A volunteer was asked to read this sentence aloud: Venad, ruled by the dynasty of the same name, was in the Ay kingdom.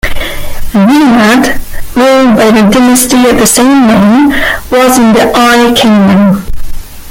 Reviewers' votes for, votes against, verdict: 1, 2, rejected